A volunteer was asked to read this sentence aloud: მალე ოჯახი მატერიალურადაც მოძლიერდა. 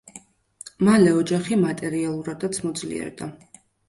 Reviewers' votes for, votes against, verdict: 2, 0, accepted